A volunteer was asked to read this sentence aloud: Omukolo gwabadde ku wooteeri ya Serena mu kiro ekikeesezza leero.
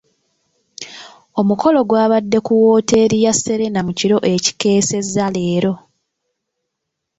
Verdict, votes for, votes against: accepted, 2, 0